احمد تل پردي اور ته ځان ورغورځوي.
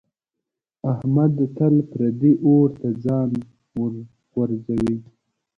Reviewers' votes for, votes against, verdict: 0, 2, rejected